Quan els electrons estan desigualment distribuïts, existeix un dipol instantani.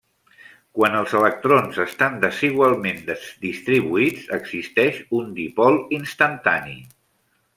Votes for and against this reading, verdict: 1, 2, rejected